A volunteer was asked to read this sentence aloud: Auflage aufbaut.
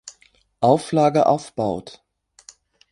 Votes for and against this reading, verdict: 3, 0, accepted